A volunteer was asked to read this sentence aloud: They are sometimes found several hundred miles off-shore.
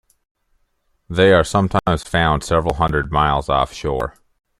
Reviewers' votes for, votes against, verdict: 2, 0, accepted